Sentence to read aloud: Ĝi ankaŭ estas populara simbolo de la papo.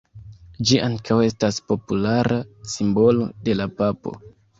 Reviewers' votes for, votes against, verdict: 0, 2, rejected